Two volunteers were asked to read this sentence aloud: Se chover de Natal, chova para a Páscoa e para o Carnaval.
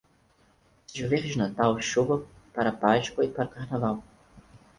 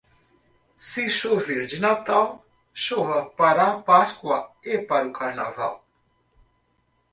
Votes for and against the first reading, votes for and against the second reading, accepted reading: 2, 4, 2, 0, second